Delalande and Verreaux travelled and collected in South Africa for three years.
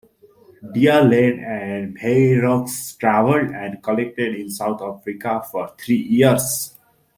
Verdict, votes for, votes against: rejected, 0, 2